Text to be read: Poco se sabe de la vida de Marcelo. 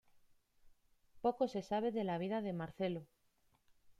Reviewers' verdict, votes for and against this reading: accepted, 2, 0